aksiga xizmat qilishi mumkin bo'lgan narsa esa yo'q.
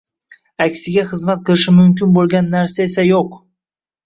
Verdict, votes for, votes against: rejected, 0, 2